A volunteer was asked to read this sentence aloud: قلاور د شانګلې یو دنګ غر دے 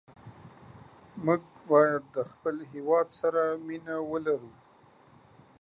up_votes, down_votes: 1, 2